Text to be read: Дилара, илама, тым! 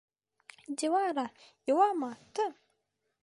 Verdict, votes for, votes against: accepted, 2, 0